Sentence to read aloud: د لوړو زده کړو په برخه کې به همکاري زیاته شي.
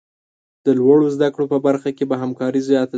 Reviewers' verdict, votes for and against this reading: rejected, 1, 2